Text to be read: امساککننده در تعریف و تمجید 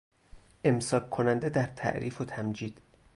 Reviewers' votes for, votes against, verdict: 0, 2, rejected